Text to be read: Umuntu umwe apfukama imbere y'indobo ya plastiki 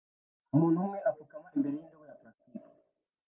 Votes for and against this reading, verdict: 0, 2, rejected